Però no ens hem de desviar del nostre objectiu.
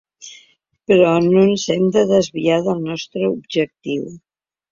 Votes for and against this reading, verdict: 2, 0, accepted